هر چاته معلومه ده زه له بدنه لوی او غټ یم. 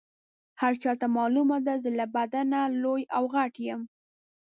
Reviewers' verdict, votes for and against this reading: accepted, 2, 0